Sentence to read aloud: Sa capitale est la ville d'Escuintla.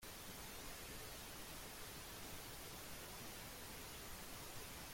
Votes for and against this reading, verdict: 0, 2, rejected